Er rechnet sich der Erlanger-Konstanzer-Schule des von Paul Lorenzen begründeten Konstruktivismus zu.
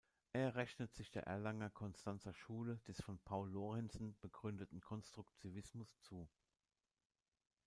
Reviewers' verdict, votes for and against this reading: rejected, 1, 2